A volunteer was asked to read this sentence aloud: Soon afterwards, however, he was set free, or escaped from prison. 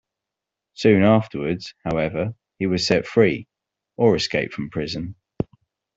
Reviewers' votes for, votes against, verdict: 2, 0, accepted